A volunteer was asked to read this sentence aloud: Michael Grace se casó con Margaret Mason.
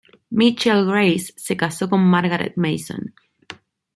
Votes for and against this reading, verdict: 2, 0, accepted